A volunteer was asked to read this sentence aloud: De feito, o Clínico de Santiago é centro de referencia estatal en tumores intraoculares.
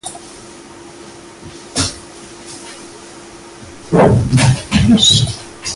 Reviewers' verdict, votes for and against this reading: rejected, 0, 2